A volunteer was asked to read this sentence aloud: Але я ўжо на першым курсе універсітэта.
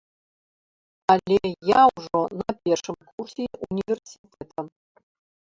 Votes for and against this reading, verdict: 0, 2, rejected